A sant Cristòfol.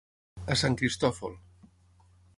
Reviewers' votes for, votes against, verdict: 9, 0, accepted